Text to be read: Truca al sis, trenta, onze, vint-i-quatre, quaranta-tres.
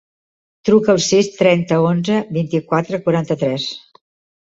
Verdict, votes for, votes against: accepted, 2, 0